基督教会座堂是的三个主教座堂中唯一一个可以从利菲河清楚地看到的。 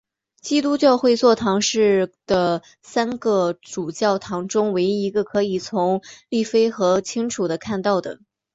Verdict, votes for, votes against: accepted, 2, 0